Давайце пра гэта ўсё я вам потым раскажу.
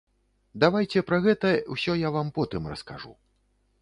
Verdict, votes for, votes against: accepted, 2, 0